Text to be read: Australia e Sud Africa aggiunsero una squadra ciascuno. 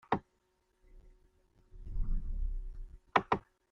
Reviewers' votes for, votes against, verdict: 0, 2, rejected